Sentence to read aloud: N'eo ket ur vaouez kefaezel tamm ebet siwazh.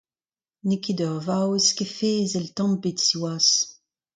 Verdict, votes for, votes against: accepted, 2, 0